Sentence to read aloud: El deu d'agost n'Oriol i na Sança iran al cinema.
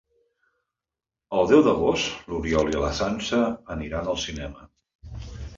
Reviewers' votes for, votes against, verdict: 0, 2, rejected